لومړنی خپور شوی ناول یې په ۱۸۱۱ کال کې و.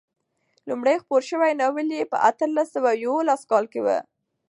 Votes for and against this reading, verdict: 0, 2, rejected